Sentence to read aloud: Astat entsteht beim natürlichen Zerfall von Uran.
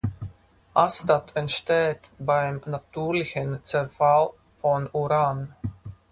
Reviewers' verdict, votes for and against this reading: rejected, 0, 4